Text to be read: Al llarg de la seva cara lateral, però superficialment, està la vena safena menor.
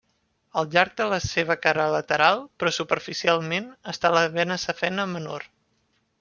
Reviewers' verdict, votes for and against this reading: accepted, 2, 0